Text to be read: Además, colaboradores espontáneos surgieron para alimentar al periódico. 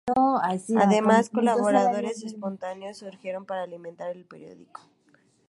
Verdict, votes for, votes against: rejected, 0, 2